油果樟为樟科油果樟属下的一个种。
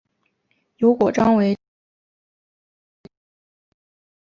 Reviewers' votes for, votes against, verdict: 0, 3, rejected